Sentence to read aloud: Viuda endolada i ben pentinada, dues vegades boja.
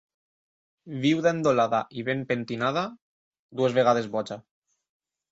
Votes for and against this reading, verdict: 2, 0, accepted